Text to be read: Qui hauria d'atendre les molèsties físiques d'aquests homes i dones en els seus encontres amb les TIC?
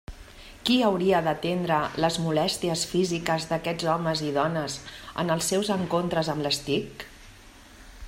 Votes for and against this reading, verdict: 2, 0, accepted